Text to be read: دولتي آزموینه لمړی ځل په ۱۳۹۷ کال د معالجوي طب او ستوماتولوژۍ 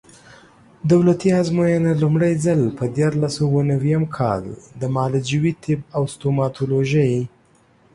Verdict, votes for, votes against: rejected, 0, 2